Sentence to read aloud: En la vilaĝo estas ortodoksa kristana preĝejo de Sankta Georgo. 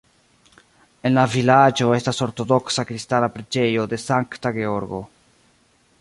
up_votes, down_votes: 0, 2